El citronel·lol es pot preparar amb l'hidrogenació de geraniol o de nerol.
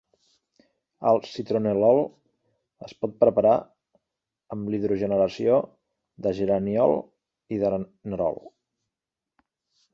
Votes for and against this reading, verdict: 1, 2, rejected